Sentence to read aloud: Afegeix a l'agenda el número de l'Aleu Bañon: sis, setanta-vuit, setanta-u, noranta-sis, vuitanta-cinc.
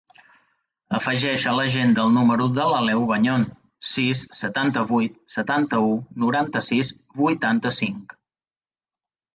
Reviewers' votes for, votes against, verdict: 2, 0, accepted